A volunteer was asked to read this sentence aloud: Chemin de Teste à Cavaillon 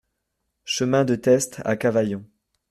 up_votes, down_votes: 2, 0